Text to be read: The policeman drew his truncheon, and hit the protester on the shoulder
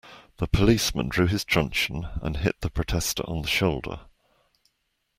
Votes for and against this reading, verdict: 2, 0, accepted